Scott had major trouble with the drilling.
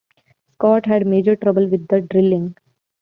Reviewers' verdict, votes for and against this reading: accepted, 2, 0